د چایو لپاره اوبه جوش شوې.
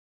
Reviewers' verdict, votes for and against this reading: rejected, 1, 2